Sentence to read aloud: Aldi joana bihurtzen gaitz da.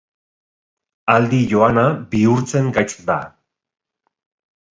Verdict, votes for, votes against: accepted, 2, 0